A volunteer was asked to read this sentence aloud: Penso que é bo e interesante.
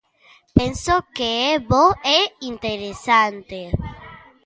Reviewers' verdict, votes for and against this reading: accepted, 2, 0